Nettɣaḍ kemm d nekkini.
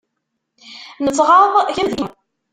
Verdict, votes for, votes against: rejected, 0, 2